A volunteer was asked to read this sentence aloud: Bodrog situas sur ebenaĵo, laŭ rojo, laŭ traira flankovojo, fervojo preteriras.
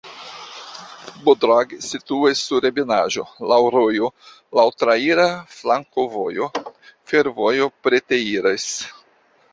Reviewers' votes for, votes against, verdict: 0, 2, rejected